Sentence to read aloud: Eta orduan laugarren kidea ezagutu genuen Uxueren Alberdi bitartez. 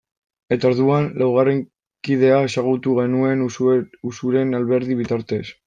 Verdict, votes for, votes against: rejected, 0, 2